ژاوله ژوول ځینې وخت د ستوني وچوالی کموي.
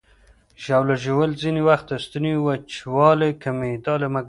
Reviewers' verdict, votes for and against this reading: rejected, 1, 2